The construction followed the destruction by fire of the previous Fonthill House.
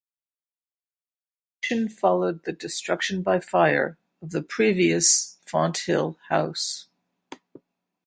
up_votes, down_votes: 0, 4